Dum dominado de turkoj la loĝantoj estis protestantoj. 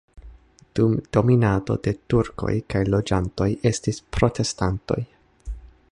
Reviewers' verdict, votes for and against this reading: rejected, 0, 2